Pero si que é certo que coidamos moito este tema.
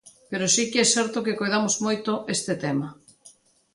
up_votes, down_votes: 2, 0